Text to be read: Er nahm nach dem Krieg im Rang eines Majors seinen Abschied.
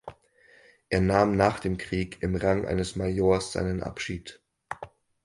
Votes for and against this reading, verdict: 4, 0, accepted